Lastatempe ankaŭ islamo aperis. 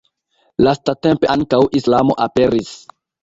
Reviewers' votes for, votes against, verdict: 1, 2, rejected